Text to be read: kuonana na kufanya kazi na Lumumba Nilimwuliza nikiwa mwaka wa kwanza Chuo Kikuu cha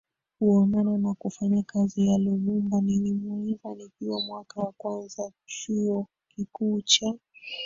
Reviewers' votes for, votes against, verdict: 1, 3, rejected